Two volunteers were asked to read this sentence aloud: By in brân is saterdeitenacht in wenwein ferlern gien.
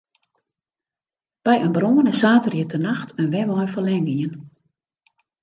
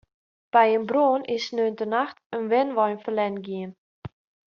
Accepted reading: first